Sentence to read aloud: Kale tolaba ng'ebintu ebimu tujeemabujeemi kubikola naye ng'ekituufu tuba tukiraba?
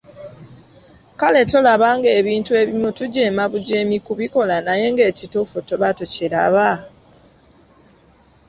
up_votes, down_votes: 2, 0